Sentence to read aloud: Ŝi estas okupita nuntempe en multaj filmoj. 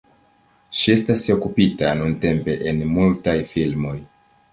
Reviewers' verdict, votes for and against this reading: accepted, 3, 0